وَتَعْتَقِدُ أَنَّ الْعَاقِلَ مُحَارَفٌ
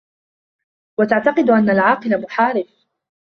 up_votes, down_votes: 2, 0